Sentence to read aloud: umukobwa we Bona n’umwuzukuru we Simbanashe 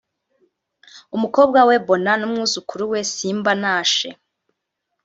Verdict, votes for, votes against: rejected, 0, 2